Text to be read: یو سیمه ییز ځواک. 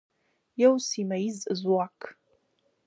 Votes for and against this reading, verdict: 2, 1, accepted